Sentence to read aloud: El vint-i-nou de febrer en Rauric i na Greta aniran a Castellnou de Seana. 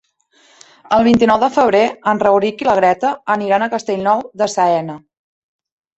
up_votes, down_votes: 0, 2